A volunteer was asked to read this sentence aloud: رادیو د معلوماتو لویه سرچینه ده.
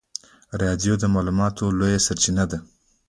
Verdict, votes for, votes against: accepted, 2, 0